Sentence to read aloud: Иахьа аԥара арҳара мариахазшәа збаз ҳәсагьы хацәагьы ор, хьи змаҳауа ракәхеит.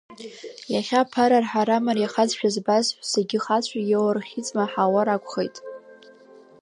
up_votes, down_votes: 2, 0